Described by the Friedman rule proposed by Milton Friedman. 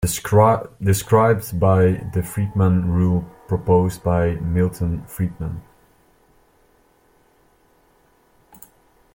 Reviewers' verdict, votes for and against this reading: rejected, 0, 2